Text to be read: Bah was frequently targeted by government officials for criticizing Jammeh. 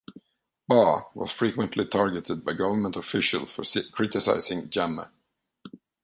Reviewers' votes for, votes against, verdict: 1, 2, rejected